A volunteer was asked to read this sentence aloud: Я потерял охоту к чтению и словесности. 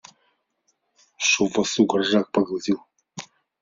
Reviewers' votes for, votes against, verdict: 0, 2, rejected